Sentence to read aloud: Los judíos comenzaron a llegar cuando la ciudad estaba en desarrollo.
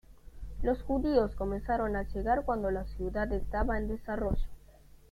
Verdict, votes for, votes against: rejected, 1, 2